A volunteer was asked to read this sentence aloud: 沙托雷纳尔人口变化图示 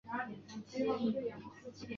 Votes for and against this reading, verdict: 0, 2, rejected